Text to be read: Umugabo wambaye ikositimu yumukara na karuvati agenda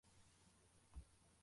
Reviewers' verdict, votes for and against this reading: rejected, 0, 2